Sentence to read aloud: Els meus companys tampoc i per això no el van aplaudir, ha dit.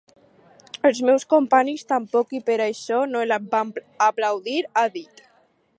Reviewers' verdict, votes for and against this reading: rejected, 0, 4